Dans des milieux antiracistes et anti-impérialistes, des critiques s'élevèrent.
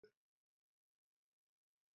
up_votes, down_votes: 0, 2